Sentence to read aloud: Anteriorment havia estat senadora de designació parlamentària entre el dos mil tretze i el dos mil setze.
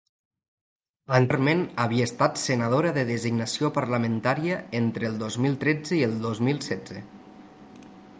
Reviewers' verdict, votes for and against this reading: rejected, 0, 2